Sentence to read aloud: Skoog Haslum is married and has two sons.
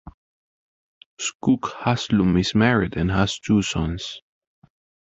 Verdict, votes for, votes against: accepted, 2, 0